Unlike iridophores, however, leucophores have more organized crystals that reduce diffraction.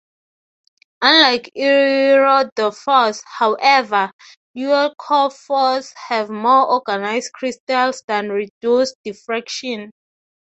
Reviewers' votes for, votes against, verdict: 3, 3, rejected